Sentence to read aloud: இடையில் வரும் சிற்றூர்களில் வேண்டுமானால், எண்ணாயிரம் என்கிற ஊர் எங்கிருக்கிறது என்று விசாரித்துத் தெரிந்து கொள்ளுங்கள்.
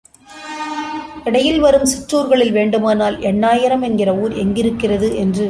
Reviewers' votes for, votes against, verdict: 0, 2, rejected